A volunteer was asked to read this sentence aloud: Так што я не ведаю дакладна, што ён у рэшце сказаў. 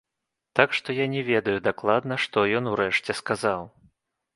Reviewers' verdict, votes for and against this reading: accepted, 2, 1